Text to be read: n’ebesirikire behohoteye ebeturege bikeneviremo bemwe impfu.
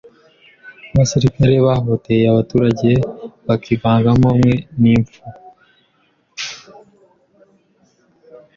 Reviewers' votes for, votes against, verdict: 0, 2, rejected